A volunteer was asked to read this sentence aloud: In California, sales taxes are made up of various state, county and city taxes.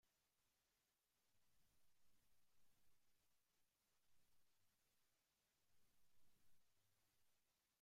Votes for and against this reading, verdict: 0, 2, rejected